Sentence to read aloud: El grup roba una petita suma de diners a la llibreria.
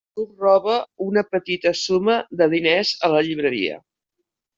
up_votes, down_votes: 0, 2